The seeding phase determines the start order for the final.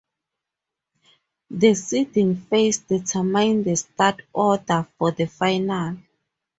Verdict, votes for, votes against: rejected, 0, 2